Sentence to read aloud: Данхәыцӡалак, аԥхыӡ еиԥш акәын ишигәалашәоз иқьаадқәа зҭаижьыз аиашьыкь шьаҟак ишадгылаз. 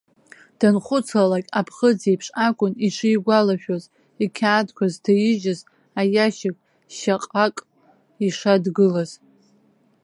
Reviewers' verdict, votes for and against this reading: rejected, 0, 2